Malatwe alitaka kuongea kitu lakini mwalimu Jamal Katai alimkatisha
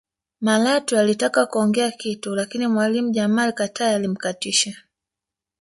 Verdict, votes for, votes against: rejected, 0, 2